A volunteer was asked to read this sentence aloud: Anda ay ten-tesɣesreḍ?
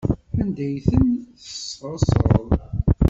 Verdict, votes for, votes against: rejected, 1, 2